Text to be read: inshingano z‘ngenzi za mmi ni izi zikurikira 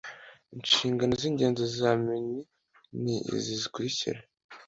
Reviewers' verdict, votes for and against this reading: accepted, 2, 0